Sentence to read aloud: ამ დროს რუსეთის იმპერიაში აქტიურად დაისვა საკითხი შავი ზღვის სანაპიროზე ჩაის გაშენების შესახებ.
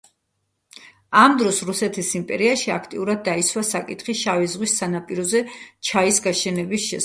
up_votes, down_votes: 2, 0